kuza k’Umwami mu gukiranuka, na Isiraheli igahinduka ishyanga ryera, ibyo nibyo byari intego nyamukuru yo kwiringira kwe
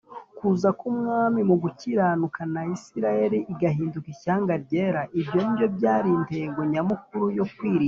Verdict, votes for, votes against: rejected, 1, 2